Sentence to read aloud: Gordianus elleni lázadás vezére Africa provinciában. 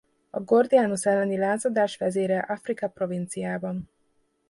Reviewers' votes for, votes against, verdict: 0, 2, rejected